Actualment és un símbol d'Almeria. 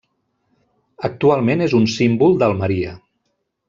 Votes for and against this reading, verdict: 1, 2, rejected